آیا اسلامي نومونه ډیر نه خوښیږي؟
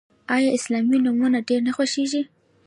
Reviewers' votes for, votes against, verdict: 0, 2, rejected